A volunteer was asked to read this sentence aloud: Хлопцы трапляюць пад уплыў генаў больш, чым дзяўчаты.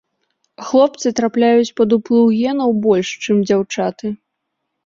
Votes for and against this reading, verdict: 2, 0, accepted